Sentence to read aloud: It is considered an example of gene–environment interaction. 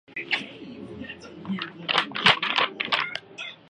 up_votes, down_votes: 0, 2